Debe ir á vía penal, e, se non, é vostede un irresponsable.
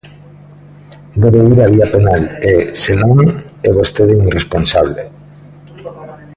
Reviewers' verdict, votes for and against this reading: rejected, 0, 2